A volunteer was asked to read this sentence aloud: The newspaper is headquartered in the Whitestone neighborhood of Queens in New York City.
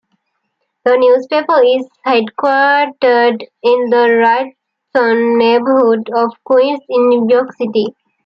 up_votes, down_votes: 2, 0